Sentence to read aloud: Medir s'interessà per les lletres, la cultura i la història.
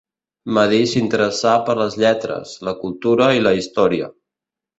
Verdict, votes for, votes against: accepted, 2, 0